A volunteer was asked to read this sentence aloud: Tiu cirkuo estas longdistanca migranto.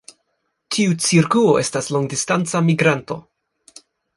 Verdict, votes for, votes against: accepted, 2, 0